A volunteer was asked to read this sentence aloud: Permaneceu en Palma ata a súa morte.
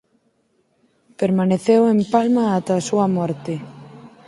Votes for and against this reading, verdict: 4, 0, accepted